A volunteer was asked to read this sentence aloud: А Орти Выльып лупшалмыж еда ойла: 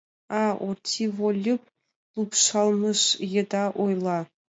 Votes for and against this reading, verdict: 2, 0, accepted